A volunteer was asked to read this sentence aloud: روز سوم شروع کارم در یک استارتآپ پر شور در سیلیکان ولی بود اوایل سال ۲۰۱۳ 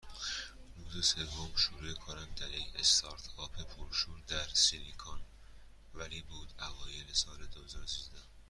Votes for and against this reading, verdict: 0, 2, rejected